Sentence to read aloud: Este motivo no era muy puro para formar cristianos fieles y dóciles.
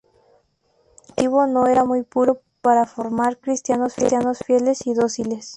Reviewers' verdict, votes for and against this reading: accepted, 2, 0